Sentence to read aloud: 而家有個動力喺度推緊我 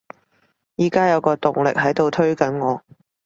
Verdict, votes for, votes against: rejected, 1, 2